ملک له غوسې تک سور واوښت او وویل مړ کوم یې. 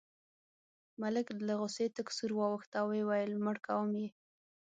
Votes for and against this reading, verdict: 6, 0, accepted